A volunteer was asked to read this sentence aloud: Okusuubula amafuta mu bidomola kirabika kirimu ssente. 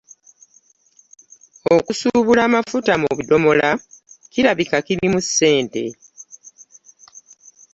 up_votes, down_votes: 2, 0